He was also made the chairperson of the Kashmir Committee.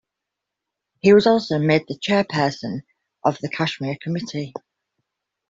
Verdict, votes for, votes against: accepted, 2, 0